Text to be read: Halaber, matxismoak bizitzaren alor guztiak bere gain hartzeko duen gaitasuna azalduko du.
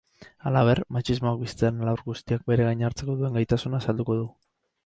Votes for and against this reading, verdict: 2, 4, rejected